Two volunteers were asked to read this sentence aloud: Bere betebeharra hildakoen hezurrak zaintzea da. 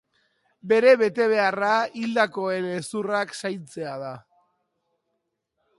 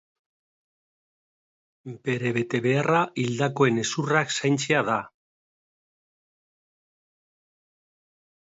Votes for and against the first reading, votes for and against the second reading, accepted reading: 2, 0, 0, 2, first